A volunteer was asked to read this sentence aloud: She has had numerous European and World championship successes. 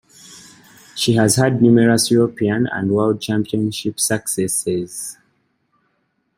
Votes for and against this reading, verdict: 2, 1, accepted